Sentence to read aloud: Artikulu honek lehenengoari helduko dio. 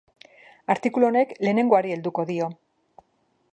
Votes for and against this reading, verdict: 1, 2, rejected